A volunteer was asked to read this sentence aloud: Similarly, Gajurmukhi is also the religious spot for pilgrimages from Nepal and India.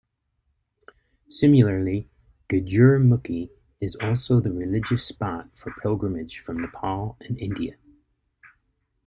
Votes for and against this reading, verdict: 0, 2, rejected